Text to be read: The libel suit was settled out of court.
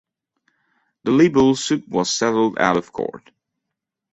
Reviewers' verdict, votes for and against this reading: rejected, 1, 2